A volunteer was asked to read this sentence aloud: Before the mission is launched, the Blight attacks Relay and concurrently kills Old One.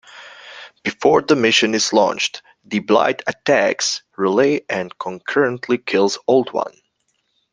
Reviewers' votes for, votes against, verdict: 2, 0, accepted